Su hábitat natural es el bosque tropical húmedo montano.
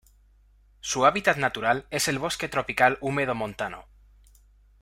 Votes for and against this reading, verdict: 2, 0, accepted